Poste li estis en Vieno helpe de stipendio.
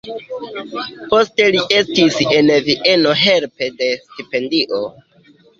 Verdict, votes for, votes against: rejected, 0, 2